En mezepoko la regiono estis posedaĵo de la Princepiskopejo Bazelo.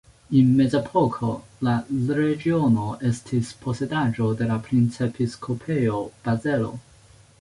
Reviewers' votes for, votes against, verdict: 0, 2, rejected